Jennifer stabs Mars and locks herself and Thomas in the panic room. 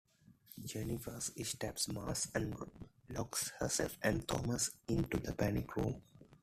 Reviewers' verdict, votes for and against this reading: rejected, 1, 2